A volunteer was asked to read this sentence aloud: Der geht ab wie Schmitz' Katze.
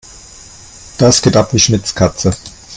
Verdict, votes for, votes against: rejected, 1, 2